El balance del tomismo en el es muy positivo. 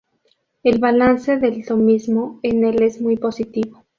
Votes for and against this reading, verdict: 0, 2, rejected